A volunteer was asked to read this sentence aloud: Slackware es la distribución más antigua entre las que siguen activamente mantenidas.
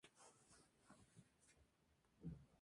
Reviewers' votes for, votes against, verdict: 0, 2, rejected